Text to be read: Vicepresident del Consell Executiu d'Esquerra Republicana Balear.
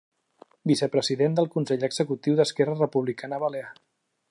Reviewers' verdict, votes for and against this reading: accepted, 2, 0